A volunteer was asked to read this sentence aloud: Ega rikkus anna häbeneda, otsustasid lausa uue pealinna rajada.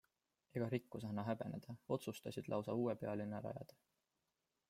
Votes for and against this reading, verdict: 2, 1, accepted